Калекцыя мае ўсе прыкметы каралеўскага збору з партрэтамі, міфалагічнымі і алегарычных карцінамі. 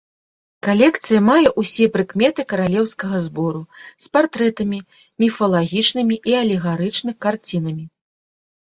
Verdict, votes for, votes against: accepted, 2, 0